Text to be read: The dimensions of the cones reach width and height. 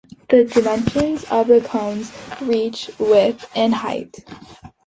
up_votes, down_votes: 2, 0